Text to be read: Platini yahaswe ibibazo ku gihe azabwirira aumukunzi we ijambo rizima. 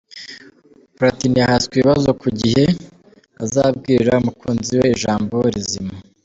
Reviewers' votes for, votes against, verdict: 3, 0, accepted